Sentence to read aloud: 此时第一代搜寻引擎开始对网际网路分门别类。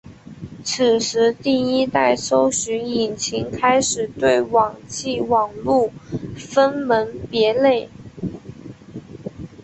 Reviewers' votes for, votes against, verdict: 8, 1, accepted